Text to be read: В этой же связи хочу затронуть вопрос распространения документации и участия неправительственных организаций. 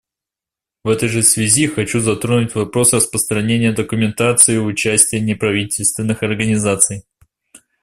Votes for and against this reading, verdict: 2, 0, accepted